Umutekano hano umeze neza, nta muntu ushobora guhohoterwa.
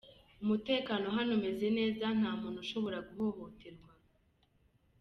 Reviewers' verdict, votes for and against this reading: accepted, 2, 0